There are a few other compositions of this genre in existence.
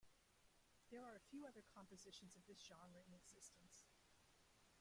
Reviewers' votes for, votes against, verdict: 0, 2, rejected